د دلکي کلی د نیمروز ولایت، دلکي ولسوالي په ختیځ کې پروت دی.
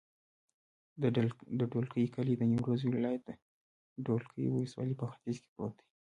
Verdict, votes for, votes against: rejected, 1, 2